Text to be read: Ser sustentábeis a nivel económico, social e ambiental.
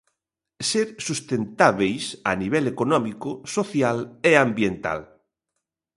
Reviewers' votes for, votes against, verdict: 2, 0, accepted